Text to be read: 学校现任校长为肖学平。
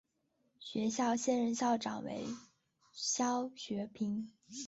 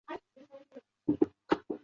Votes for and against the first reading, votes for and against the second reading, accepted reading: 3, 0, 0, 3, first